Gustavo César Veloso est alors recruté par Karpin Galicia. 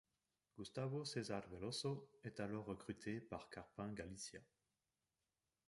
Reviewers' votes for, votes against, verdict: 2, 0, accepted